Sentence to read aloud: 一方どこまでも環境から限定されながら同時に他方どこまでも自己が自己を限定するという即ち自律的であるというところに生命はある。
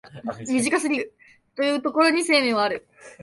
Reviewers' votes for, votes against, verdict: 0, 2, rejected